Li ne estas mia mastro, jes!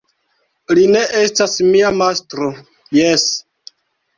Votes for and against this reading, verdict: 0, 2, rejected